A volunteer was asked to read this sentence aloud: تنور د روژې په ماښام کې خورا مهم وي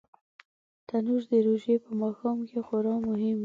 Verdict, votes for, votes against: accepted, 2, 0